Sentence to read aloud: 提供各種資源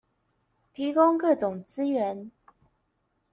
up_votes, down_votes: 2, 0